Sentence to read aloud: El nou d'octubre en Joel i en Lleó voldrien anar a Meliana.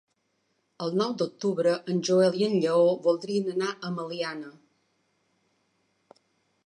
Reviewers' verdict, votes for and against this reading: accepted, 3, 0